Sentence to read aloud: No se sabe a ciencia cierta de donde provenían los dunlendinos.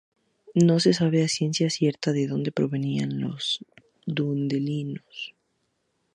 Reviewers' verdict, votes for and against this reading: rejected, 0, 2